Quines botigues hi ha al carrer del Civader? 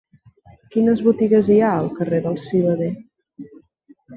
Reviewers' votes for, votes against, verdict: 0, 2, rejected